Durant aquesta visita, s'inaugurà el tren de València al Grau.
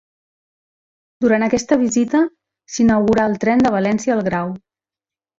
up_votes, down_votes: 2, 0